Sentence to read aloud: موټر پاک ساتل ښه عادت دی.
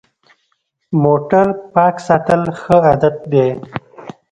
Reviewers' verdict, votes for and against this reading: accepted, 2, 0